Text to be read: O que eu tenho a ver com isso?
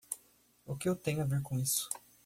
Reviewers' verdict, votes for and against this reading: accepted, 2, 0